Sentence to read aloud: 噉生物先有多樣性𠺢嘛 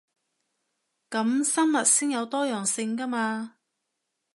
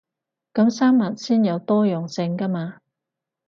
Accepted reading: first